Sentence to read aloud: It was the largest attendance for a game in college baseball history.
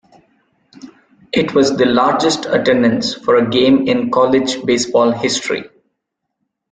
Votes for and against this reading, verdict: 2, 0, accepted